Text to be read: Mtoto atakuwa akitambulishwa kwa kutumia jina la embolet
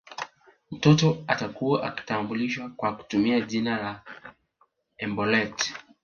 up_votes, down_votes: 4, 0